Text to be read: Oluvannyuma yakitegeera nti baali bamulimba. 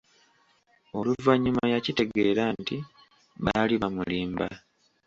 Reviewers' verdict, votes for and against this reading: accepted, 2, 0